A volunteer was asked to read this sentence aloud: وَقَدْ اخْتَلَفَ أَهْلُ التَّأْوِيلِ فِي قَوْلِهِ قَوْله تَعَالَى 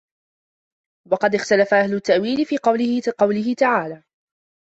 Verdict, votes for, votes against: rejected, 0, 2